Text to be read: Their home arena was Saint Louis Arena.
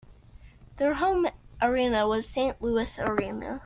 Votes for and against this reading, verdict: 2, 0, accepted